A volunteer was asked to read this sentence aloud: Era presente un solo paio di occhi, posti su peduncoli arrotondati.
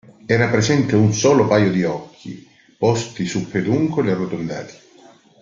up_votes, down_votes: 2, 0